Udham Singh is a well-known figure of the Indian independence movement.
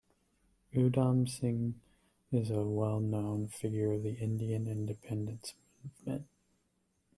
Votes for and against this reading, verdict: 1, 2, rejected